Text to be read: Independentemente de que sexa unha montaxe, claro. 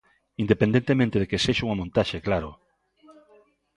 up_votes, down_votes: 2, 1